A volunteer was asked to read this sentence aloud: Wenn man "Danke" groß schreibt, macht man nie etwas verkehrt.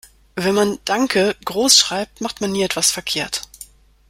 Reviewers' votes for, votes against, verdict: 2, 0, accepted